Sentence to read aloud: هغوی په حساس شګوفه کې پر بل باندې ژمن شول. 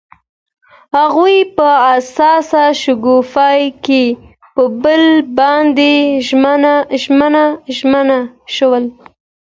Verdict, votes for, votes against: accepted, 2, 0